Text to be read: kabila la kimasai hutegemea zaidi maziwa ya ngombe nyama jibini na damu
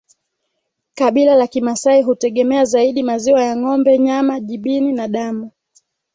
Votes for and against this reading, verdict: 2, 1, accepted